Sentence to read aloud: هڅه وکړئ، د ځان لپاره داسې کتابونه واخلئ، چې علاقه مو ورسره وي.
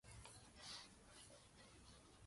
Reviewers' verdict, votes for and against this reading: rejected, 0, 2